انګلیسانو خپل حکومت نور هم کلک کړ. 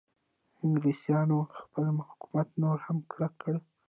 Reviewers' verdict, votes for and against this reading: rejected, 1, 2